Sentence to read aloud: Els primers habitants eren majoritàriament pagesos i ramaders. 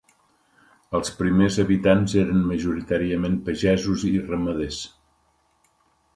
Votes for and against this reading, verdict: 4, 0, accepted